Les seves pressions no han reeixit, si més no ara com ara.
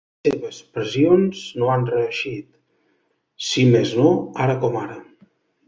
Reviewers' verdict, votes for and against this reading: rejected, 1, 2